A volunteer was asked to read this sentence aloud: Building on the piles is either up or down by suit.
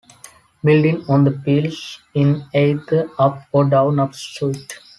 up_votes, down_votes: 1, 2